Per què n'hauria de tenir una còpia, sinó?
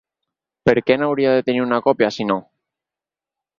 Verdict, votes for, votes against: accepted, 4, 0